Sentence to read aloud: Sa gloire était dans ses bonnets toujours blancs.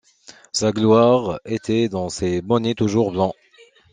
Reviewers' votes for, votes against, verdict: 2, 1, accepted